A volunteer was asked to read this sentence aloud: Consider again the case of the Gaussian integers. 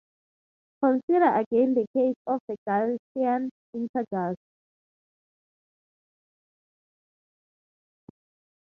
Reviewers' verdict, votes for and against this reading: rejected, 0, 3